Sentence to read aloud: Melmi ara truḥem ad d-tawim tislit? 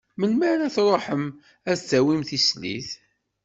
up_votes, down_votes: 2, 0